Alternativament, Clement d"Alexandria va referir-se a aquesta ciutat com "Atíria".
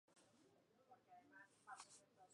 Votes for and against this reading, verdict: 0, 2, rejected